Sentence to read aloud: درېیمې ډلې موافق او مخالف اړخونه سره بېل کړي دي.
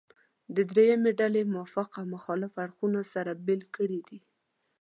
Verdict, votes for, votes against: accepted, 2, 0